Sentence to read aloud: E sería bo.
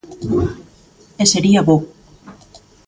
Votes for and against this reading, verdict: 2, 0, accepted